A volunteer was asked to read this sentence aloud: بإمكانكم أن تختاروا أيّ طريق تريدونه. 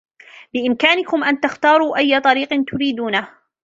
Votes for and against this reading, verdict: 2, 0, accepted